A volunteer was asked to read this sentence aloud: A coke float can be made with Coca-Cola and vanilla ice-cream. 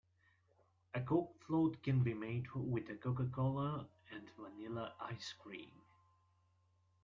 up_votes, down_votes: 0, 2